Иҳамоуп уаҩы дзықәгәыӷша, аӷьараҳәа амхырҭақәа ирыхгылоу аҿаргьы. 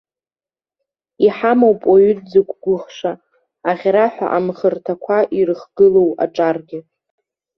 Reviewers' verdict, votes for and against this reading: accepted, 2, 0